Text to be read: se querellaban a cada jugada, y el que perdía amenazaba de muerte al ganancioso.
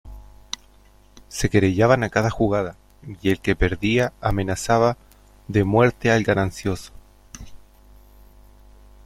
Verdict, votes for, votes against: accepted, 2, 0